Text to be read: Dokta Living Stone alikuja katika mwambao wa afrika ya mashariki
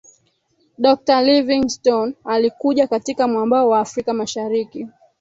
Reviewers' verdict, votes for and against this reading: accepted, 3, 2